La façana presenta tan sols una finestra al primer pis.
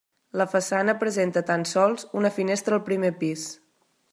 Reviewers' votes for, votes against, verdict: 3, 0, accepted